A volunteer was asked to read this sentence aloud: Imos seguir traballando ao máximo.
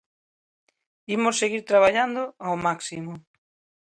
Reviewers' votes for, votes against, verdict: 2, 0, accepted